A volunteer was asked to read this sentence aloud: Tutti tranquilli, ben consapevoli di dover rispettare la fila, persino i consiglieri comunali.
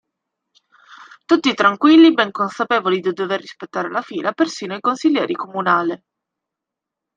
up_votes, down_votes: 1, 2